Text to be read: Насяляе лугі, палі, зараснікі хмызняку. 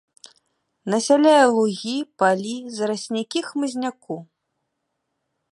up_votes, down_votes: 1, 2